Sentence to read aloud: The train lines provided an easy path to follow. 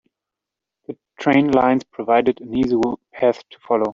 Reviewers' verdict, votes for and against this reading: rejected, 0, 2